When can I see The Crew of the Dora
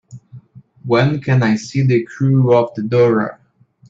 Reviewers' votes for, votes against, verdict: 2, 0, accepted